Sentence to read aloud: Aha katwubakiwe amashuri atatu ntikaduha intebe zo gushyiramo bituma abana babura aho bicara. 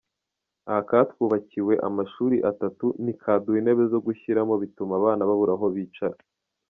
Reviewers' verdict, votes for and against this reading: rejected, 1, 2